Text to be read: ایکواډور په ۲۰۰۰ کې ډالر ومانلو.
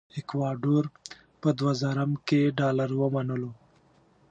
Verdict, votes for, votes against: rejected, 0, 2